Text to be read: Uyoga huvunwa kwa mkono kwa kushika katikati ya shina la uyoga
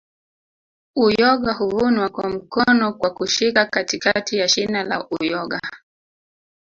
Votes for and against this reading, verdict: 1, 2, rejected